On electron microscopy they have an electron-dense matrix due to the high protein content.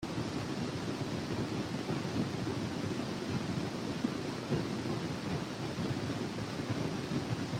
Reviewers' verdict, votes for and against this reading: rejected, 0, 2